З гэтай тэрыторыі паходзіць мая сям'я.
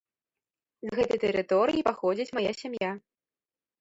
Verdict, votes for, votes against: accepted, 2, 0